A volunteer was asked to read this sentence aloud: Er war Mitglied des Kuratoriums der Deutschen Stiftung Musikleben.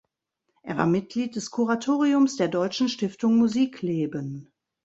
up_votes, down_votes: 2, 0